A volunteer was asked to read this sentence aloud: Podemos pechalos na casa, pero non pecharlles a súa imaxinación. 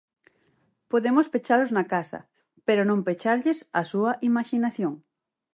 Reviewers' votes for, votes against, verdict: 4, 0, accepted